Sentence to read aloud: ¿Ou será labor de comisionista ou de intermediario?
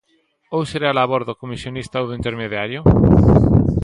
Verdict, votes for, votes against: rejected, 1, 2